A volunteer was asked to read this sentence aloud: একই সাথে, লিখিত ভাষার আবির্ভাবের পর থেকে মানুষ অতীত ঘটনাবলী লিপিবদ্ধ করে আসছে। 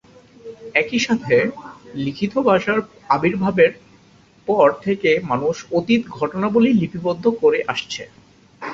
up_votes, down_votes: 6, 0